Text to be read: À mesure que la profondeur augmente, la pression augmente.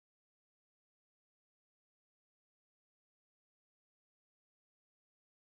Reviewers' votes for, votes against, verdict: 0, 2, rejected